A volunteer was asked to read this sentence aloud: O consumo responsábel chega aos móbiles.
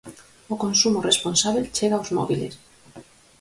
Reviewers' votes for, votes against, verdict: 4, 0, accepted